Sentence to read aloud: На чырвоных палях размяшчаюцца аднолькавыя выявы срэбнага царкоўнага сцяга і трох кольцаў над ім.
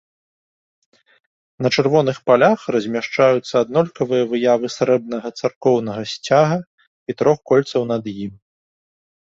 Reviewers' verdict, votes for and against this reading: accepted, 2, 0